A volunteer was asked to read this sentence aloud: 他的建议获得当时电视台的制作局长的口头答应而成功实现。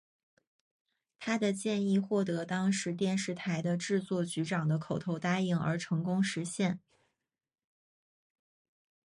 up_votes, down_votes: 3, 0